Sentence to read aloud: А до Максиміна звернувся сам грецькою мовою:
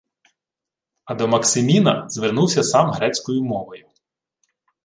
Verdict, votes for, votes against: accepted, 2, 0